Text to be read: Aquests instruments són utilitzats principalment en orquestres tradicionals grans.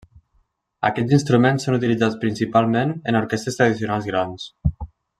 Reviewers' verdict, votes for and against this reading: rejected, 1, 2